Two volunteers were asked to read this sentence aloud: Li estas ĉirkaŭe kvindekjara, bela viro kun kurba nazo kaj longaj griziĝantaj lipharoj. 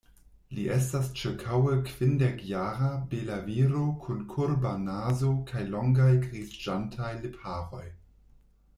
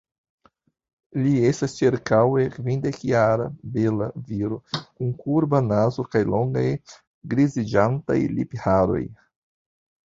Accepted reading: second